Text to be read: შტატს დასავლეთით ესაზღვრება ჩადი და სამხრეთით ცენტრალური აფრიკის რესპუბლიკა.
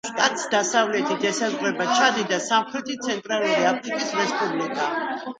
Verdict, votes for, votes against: accepted, 2, 0